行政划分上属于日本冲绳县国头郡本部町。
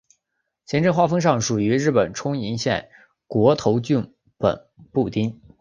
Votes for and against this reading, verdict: 2, 0, accepted